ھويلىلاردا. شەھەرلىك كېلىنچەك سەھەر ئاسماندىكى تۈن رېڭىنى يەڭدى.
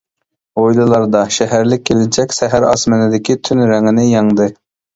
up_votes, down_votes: 2, 1